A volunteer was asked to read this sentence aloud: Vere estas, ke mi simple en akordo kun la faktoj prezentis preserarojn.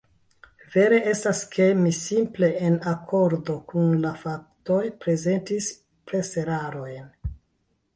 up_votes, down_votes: 2, 0